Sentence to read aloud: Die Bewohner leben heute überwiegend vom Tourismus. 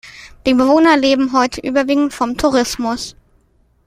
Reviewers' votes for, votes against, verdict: 2, 0, accepted